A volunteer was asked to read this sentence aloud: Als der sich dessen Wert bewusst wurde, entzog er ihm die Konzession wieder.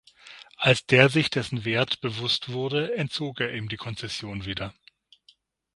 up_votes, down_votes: 6, 0